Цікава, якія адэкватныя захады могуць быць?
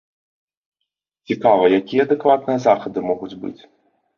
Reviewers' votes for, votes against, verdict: 2, 0, accepted